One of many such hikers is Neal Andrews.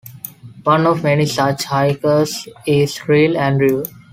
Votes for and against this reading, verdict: 1, 2, rejected